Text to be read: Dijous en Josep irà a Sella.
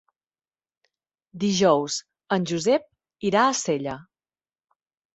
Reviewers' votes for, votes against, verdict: 3, 0, accepted